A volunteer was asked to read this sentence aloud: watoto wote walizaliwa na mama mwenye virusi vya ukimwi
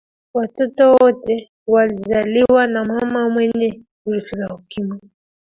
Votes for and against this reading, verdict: 0, 2, rejected